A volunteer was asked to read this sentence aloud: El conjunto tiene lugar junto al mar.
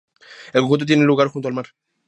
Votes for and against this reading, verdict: 0, 2, rejected